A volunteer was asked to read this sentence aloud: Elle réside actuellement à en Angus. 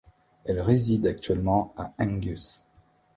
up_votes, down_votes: 0, 2